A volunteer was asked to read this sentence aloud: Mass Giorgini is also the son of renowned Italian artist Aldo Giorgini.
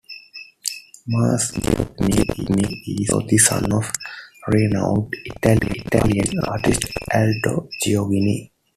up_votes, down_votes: 0, 2